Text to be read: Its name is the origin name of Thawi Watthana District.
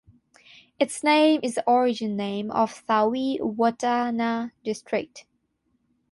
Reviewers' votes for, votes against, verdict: 3, 6, rejected